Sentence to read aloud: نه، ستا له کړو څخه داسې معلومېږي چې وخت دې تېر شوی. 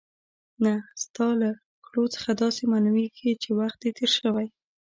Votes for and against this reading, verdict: 1, 2, rejected